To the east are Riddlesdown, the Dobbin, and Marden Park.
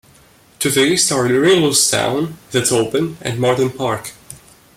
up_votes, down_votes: 1, 2